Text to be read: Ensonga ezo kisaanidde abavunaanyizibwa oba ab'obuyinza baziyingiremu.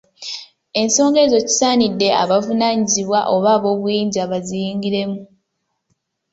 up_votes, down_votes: 0, 2